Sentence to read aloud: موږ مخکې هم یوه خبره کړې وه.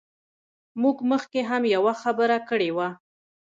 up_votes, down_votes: 0, 2